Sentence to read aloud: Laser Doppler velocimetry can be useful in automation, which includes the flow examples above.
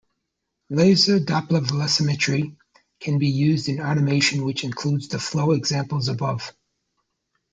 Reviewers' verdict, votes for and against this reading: rejected, 1, 2